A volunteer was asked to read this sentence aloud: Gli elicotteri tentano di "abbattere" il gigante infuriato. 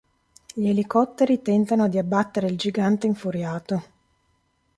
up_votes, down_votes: 3, 0